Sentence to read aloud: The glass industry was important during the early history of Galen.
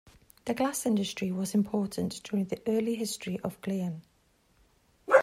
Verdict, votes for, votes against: rejected, 0, 2